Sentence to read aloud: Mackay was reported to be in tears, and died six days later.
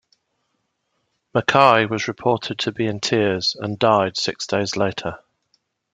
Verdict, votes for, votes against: accepted, 2, 0